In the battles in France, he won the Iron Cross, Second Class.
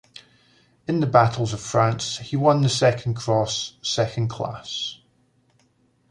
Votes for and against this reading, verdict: 0, 2, rejected